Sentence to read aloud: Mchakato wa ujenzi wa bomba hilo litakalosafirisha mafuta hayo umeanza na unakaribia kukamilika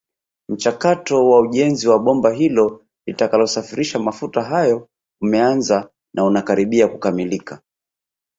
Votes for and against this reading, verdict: 7, 0, accepted